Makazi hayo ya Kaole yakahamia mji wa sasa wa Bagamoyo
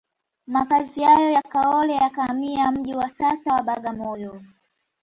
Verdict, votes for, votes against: accepted, 2, 0